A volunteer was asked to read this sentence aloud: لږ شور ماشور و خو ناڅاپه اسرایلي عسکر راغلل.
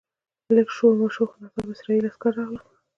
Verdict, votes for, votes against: accepted, 2, 1